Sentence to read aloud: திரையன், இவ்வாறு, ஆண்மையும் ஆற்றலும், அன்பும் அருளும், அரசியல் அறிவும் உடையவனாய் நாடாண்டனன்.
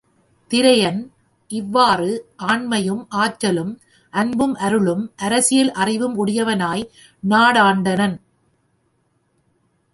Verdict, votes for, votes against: accepted, 2, 0